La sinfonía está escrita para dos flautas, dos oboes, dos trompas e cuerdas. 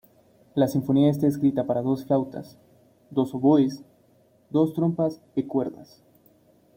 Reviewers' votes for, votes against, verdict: 2, 0, accepted